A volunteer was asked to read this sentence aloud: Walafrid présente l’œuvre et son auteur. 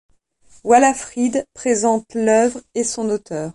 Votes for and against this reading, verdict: 2, 0, accepted